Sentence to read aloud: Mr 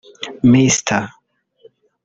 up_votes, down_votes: 0, 3